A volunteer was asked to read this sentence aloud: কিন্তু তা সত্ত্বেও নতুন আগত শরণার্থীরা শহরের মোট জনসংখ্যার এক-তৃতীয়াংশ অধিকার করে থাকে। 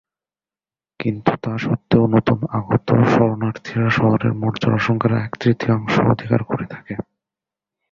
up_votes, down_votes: 1, 2